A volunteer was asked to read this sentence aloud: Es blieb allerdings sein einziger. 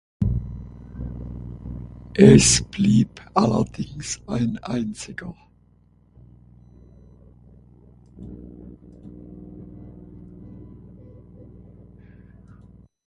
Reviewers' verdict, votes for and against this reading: rejected, 0, 6